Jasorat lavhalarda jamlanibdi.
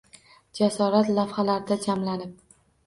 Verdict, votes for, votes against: rejected, 0, 2